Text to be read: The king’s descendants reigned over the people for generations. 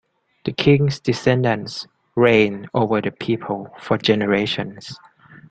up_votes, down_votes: 2, 0